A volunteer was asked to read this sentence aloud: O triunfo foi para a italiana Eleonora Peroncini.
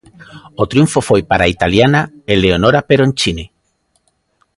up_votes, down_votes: 2, 0